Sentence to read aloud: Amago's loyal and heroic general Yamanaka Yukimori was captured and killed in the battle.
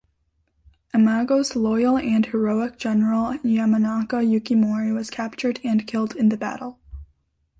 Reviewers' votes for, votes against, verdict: 2, 0, accepted